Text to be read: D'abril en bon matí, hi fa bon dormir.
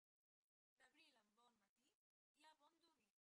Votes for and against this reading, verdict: 0, 2, rejected